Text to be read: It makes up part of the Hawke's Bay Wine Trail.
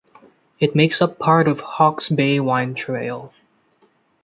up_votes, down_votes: 1, 2